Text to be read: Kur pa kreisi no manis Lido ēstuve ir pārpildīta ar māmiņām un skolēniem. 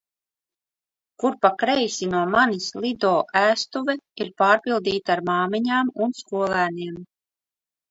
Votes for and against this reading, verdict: 2, 0, accepted